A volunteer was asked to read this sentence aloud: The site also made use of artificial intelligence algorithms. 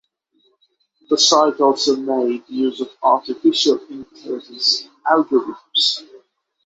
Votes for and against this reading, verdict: 6, 0, accepted